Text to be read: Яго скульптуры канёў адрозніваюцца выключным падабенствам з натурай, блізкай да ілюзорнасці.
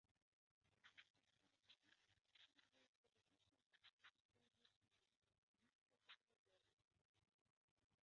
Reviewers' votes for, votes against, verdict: 0, 2, rejected